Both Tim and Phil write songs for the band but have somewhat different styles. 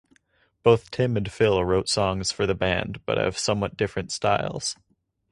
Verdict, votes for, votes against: rejected, 0, 2